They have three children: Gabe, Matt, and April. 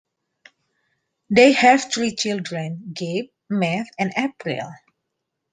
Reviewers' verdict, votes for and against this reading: accepted, 2, 0